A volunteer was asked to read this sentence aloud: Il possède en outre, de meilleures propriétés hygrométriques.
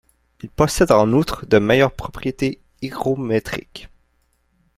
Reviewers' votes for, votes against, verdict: 0, 2, rejected